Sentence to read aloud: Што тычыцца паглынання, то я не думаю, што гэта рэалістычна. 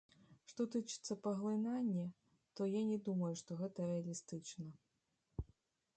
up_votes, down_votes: 2, 0